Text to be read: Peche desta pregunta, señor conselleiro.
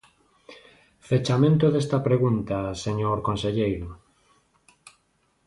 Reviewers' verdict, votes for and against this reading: rejected, 0, 2